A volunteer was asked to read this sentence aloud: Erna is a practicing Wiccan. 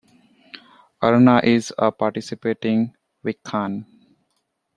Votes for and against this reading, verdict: 0, 2, rejected